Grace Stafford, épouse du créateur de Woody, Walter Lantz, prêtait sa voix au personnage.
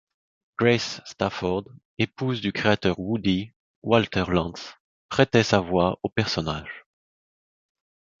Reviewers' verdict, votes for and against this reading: rejected, 1, 2